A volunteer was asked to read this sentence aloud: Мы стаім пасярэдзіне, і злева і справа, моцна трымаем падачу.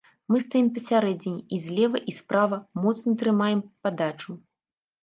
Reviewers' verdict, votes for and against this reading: accepted, 2, 0